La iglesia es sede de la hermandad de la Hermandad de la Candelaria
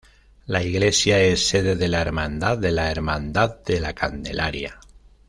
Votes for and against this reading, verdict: 2, 0, accepted